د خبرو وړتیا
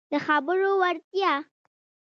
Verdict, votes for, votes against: accepted, 2, 0